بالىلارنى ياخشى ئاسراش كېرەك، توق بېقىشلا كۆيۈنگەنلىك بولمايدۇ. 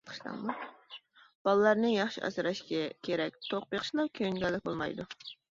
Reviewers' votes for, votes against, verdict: 1, 2, rejected